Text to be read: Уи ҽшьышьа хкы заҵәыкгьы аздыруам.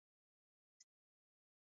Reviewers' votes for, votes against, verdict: 0, 2, rejected